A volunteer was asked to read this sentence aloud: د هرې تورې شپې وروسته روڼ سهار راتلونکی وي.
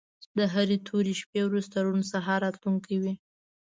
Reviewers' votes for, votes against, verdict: 2, 0, accepted